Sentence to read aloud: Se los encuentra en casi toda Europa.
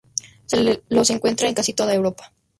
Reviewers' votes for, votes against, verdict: 0, 2, rejected